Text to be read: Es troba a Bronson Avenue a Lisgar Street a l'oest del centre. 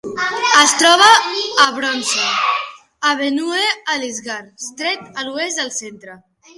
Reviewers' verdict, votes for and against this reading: rejected, 1, 2